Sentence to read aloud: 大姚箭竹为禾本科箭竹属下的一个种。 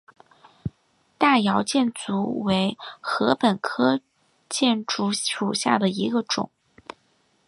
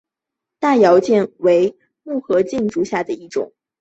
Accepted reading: first